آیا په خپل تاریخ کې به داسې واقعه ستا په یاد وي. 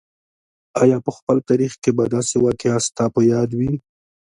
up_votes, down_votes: 2, 1